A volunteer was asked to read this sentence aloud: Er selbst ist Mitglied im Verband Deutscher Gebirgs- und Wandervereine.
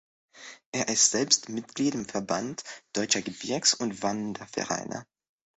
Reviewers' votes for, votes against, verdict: 0, 2, rejected